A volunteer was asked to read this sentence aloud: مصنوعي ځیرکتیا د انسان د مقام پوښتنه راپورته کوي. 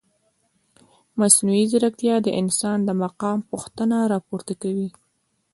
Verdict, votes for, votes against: accepted, 2, 0